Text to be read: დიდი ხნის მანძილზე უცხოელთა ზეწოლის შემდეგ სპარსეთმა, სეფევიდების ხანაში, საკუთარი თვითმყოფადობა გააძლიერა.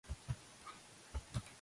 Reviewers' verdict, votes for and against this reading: rejected, 0, 2